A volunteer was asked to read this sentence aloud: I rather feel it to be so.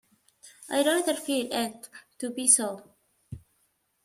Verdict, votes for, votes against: rejected, 1, 2